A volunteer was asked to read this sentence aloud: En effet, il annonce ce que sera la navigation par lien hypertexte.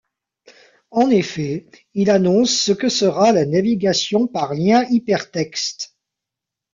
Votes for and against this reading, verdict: 2, 0, accepted